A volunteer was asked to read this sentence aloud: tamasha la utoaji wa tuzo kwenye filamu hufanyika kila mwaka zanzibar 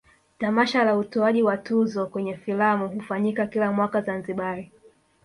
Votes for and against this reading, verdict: 2, 0, accepted